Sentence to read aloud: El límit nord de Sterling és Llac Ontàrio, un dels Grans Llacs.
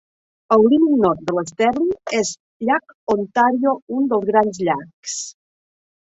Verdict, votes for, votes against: rejected, 2, 3